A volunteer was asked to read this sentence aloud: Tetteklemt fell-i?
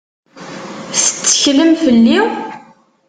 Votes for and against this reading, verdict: 0, 2, rejected